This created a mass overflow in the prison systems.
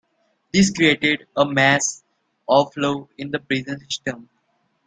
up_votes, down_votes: 1, 2